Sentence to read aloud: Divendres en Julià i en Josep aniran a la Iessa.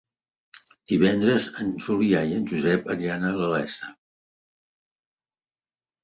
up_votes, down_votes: 2, 0